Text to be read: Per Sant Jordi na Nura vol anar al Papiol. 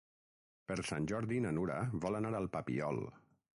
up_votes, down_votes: 3, 3